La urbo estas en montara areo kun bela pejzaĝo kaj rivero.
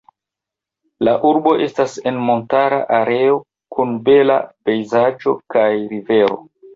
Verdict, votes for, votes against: accepted, 2, 0